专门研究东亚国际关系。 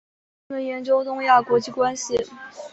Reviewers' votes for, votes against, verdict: 2, 0, accepted